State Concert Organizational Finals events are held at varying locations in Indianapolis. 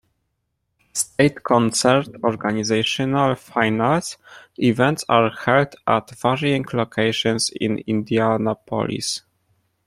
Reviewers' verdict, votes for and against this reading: accepted, 2, 0